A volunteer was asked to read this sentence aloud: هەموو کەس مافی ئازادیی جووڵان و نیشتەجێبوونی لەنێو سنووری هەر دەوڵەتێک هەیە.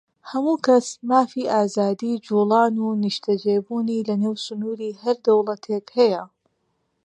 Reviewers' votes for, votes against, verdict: 2, 0, accepted